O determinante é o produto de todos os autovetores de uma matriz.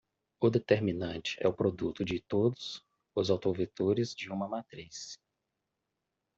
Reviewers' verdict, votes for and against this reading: accepted, 2, 0